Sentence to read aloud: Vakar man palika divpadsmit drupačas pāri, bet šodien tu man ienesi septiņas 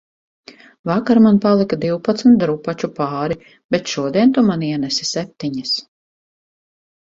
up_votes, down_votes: 0, 4